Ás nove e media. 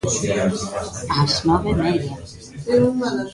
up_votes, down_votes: 0, 2